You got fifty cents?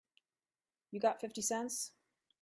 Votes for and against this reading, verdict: 3, 0, accepted